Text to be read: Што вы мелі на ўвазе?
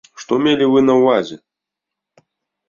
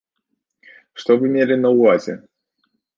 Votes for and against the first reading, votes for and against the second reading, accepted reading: 0, 2, 2, 0, second